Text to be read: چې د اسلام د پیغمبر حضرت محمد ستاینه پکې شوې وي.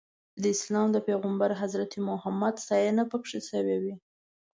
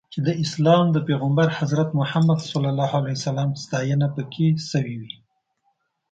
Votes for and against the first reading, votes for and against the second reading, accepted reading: 1, 2, 2, 1, second